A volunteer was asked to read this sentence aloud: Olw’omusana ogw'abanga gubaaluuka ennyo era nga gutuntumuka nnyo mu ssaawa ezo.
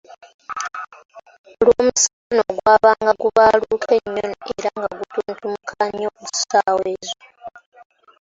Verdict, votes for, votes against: rejected, 0, 2